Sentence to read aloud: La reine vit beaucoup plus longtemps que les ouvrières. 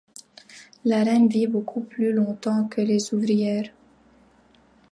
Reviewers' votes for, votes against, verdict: 2, 0, accepted